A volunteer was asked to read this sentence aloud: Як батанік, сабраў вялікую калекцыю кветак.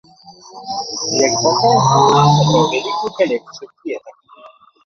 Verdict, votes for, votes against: rejected, 0, 2